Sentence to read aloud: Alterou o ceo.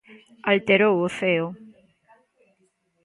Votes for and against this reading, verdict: 1, 2, rejected